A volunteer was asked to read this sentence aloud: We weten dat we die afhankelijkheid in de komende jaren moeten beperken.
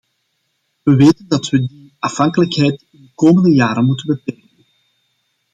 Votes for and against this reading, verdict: 0, 2, rejected